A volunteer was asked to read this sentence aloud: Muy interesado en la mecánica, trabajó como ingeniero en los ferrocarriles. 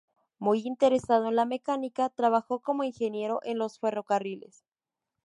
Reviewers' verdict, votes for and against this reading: rejected, 2, 2